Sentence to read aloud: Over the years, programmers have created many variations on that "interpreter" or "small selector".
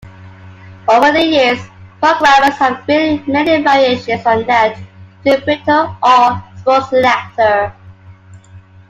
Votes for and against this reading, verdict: 0, 2, rejected